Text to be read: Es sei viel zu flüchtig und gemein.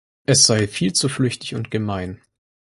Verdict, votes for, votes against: accepted, 4, 0